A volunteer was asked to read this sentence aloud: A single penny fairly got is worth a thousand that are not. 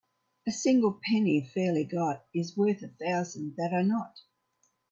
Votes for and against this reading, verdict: 2, 0, accepted